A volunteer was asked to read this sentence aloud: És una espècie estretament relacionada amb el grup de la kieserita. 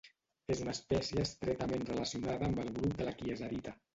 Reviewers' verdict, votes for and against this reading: rejected, 1, 2